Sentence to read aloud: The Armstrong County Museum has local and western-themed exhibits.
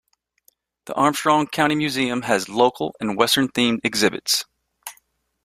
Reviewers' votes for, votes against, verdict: 2, 0, accepted